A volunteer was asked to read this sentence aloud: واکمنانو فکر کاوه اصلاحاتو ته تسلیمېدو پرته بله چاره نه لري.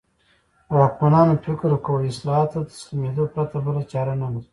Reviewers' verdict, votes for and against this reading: accepted, 2, 0